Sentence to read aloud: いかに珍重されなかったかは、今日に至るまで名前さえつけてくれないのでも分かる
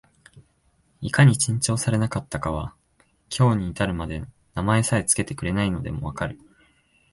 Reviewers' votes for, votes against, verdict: 2, 0, accepted